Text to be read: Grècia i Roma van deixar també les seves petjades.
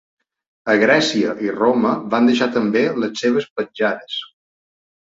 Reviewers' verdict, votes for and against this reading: rejected, 1, 2